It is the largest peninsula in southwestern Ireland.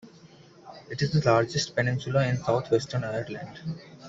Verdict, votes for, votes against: accepted, 2, 0